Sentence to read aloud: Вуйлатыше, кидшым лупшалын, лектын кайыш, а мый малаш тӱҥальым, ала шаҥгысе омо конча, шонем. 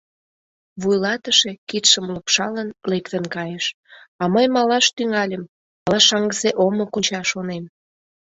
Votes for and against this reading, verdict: 0, 2, rejected